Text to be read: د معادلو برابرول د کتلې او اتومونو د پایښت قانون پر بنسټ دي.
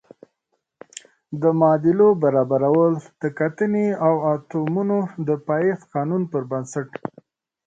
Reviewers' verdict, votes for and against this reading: accepted, 2, 0